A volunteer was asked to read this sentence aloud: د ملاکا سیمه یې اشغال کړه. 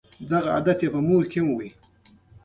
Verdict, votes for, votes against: rejected, 1, 2